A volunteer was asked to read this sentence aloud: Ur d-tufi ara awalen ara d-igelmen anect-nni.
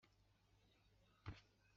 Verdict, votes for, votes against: rejected, 0, 2